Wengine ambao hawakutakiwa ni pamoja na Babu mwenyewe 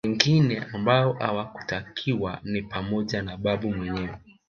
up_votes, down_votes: 0, 2